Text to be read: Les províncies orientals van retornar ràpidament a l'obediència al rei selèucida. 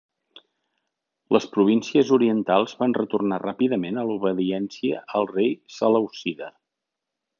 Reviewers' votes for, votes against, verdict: 2, 0, accepted